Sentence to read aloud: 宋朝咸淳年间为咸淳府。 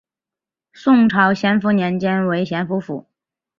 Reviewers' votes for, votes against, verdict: 3, 0, accepted